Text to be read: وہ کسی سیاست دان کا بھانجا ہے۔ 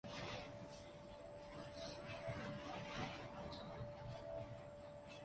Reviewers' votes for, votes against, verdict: 0, 2, rejected